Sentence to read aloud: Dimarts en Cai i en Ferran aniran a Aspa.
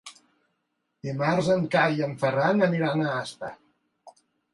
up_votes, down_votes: 2, 0